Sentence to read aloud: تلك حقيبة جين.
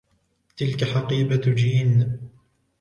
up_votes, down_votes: 4, 0